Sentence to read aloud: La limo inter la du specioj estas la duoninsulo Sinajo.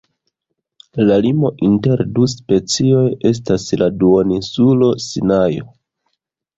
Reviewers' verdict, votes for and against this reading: rejected, 1, 2